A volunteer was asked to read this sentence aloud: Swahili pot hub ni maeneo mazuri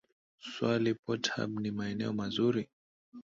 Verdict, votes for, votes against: rejected, 2, 2